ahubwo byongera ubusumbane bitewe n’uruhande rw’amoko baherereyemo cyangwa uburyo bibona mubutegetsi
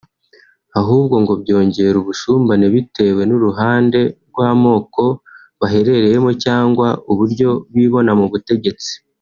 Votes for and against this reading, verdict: 0, 2, rejected